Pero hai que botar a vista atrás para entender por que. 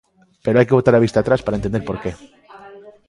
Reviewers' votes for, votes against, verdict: 2, 0, accepted